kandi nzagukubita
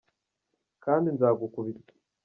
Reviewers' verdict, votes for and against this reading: rejected, 0, 2